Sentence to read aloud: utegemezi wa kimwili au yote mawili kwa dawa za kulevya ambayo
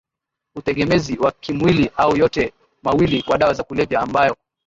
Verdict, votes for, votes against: rejected, 1, 2